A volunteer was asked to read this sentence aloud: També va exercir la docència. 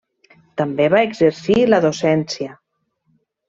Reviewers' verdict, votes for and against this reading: accepted, 3, 0